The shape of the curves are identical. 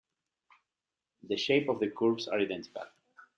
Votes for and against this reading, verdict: 1, 2, rejected